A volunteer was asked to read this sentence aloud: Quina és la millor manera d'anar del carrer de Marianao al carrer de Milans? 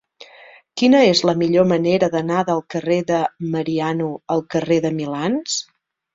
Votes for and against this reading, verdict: 0, 2, rejected